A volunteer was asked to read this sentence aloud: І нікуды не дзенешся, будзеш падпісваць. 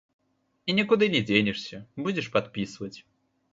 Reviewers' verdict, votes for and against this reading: rejected, 1, 2